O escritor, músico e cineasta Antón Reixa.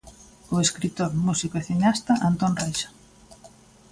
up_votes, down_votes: 2, 0